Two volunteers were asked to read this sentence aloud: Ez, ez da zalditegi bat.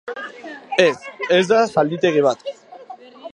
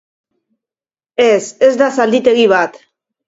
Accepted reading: second